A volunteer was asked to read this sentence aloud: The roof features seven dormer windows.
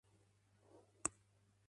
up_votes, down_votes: 0, 2